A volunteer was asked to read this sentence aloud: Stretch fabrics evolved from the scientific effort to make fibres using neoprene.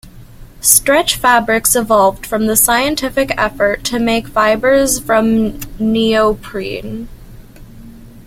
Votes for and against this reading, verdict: 0, 2, rejected